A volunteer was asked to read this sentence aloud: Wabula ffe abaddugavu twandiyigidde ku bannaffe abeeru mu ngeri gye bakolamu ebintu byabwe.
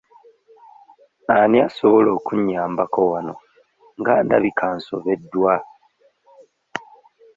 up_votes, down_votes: 0, 2